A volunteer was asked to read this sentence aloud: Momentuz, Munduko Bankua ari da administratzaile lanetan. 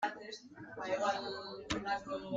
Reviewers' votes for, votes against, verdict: 0, 2, rejected